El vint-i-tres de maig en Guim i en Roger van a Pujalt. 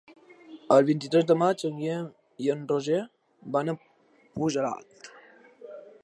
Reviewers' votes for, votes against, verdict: 0, 2, rejected